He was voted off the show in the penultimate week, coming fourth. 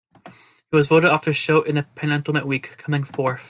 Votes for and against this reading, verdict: 1, 2, rejected